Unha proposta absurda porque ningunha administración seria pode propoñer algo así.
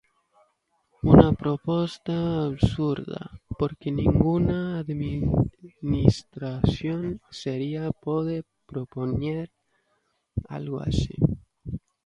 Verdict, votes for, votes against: rejected, 0, 2